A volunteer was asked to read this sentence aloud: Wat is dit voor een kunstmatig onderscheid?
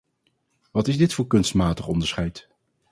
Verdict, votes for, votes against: rejected, 2, 2